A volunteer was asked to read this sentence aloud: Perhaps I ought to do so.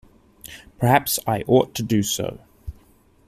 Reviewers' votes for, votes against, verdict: 2, 0, accepted